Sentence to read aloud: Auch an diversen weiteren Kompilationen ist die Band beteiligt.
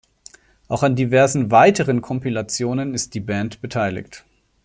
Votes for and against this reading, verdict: 2, 0, accepted